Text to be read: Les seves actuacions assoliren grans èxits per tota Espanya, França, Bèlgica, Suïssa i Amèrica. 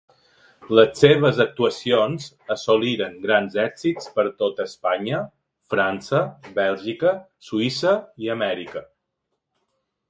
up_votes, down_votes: 2, 0